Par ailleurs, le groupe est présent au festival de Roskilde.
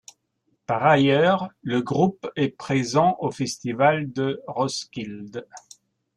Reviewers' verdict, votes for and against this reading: rejected, 1, 2